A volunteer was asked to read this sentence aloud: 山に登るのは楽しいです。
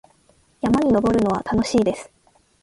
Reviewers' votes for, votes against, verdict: 0, 2, rejected